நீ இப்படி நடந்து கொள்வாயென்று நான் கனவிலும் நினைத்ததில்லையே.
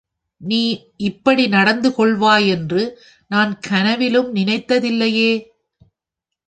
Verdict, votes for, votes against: accepted, 2, 0